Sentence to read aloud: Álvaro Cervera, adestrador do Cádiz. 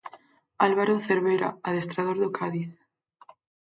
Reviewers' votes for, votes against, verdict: 4, 0, accepted